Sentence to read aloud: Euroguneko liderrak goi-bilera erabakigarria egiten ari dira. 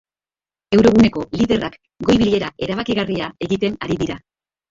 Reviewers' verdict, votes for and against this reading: accepted, 2, 1